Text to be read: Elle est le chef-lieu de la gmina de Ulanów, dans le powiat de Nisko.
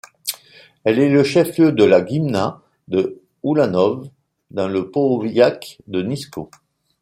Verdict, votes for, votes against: rejected, 1, 2